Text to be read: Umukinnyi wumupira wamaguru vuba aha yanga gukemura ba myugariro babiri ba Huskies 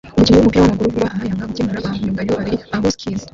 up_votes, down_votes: 0, 2